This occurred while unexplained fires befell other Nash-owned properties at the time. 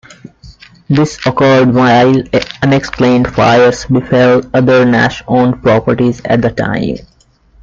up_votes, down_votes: 2, 0